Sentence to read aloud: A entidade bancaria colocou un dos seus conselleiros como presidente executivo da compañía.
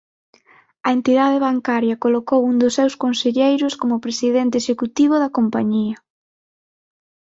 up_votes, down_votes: 6, 0